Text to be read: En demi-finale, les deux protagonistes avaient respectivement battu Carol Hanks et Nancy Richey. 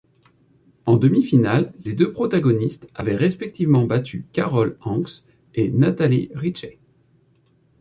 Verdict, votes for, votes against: rejected, 1, 2